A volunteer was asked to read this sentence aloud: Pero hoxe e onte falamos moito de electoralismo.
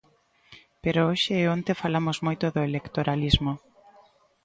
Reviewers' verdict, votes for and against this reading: rejected, 1, 2